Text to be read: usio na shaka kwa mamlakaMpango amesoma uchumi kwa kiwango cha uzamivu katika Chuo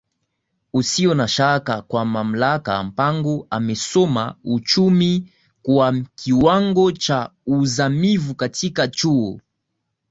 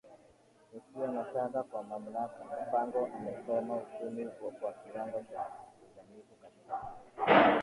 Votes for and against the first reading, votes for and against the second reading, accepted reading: 2, 0, 0, 2, first